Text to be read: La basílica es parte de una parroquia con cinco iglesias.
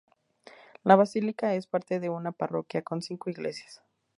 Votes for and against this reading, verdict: 2, 0, accepted